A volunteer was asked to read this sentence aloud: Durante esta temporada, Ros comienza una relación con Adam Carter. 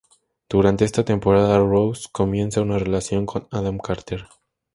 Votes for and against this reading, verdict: 2, 0, accepted